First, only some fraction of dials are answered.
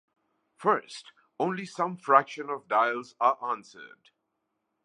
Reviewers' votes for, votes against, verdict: 2, 0, accepted